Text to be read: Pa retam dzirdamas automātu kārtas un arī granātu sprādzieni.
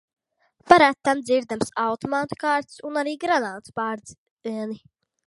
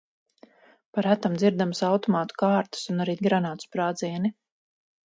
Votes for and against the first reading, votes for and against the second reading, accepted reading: 0, 2, 4, 0, second